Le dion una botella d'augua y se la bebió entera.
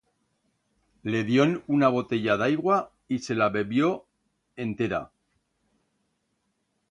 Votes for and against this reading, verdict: 1, 2, rejected